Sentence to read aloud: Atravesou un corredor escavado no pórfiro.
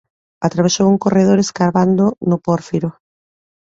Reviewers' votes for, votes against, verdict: 1, 2, rejected